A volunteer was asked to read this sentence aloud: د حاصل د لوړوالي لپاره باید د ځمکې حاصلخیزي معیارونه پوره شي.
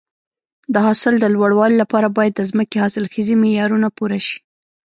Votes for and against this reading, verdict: 2, 1, accepted